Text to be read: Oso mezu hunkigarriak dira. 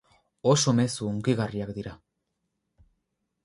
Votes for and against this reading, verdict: 2, 2, rejected